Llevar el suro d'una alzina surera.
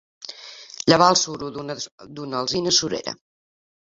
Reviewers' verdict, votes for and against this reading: rejected, 0, 2